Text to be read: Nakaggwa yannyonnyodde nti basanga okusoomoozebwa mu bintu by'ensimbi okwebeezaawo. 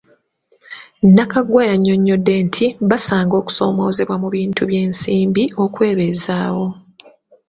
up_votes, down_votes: 2, 0